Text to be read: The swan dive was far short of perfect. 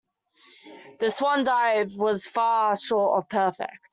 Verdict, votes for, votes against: accepted, 2, 0